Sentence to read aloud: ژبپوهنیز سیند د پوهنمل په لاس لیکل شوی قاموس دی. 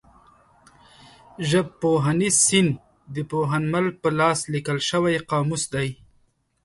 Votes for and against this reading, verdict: 2, 0, accepted